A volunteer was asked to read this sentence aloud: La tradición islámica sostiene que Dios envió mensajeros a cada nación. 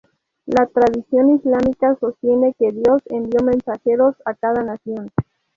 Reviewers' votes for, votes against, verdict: 2, 0, accepted